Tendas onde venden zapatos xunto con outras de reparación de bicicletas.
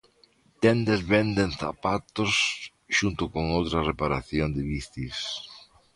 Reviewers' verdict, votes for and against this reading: rejected, 0, 2